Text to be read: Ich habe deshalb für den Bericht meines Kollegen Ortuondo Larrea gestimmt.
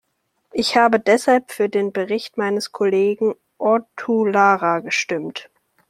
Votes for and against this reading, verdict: 1, 2, rejected